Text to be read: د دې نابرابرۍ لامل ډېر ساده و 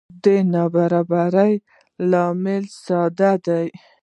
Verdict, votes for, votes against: rejected, 0, 2